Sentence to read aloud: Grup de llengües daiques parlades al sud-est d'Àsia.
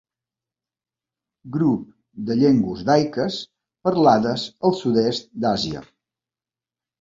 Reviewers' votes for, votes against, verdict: 3, 0, accepted